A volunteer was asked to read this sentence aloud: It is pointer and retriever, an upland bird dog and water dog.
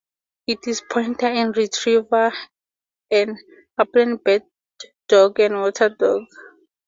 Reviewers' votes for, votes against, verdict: 4, 0, accepted